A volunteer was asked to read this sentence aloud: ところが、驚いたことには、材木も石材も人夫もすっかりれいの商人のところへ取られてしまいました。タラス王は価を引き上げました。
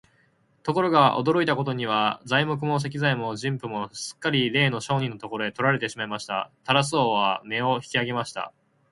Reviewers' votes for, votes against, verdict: 0, 4, rejected